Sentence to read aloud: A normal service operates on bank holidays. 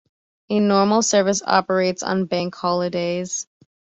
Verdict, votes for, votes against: accepted, 2, 0